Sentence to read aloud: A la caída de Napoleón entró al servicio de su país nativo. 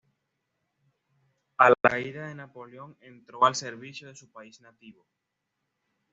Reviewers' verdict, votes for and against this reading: accepted, 2, 0